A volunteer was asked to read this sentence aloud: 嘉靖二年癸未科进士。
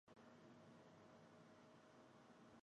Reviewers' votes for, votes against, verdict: 1, 2, rejected